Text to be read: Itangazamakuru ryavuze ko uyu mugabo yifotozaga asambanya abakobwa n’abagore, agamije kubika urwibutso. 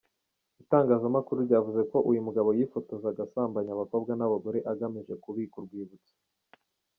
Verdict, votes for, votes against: accepted, 2, 0